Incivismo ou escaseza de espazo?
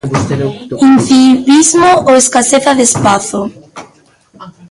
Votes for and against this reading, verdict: 1, 2, rejected